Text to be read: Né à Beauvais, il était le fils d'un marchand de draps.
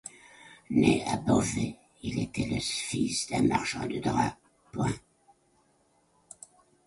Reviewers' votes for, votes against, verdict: 0, 2, rejected